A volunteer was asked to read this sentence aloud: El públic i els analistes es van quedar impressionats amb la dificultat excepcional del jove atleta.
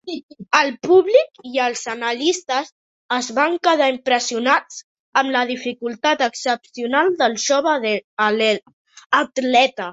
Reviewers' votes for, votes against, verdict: 0, 2, rejected